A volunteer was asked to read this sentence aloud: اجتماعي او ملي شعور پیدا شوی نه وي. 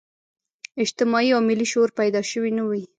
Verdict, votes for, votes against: accepted, 2, 0